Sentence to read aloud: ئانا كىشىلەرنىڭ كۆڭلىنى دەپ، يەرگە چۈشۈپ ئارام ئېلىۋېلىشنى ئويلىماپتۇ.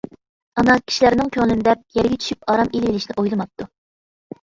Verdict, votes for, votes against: accepted, 2, 0